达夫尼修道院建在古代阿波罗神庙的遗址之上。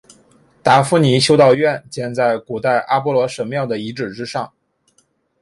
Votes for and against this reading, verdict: 9, 1, accepted